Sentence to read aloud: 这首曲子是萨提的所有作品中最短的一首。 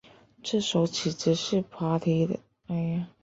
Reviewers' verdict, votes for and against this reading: rejected, 2, 4